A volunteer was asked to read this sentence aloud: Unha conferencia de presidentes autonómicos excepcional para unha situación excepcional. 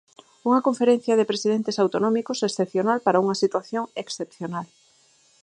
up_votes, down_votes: 4, 0